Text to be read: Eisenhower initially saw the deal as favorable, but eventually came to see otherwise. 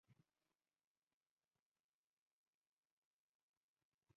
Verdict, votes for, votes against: rejected, 0, 2